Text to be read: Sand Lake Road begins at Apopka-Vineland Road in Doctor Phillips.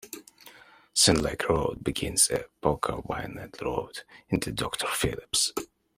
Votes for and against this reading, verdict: 1, 2, rejected